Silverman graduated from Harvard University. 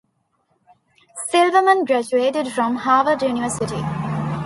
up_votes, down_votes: 2, 0